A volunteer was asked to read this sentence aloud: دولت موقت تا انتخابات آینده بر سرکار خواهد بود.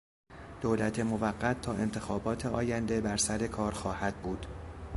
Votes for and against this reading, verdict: 2, 0, accepted